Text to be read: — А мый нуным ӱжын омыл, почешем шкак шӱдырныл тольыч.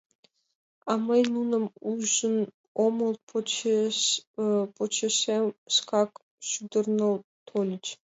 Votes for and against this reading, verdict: 0, 2, rejected